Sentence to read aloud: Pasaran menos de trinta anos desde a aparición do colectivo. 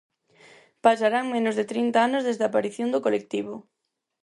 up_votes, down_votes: 0, 4